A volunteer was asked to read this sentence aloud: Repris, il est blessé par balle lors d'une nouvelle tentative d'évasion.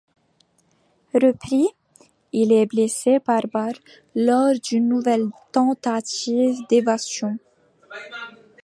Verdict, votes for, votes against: accepted, 2, 0